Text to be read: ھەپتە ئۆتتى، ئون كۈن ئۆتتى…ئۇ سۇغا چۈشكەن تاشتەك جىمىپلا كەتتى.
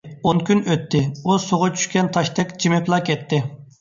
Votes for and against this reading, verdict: 0, 2, rejected